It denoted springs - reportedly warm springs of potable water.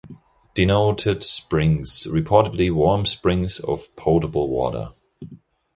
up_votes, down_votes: 0, 2